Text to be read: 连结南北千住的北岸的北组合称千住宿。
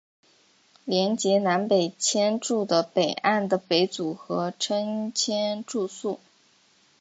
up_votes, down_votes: 2, 0